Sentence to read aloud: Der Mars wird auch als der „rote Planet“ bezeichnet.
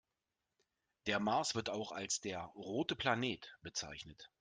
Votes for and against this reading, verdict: 2, 0, accepted